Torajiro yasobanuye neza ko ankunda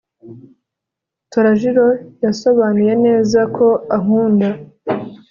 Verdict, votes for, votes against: accepted, 2, 0